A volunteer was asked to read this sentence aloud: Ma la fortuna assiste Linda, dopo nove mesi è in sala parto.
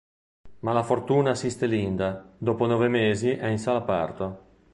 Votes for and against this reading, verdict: 2, 0, accepted